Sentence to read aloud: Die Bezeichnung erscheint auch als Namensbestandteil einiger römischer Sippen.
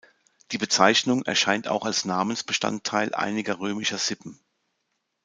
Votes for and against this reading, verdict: 2, 0, accepted